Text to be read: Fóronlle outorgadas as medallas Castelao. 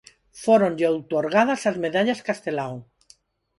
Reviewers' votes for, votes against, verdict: 6, 0, accepted